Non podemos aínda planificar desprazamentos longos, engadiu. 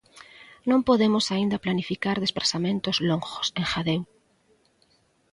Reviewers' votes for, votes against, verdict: 1, 2, rejected